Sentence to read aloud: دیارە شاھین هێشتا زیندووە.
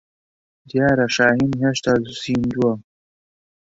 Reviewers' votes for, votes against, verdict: 3, 0, accepted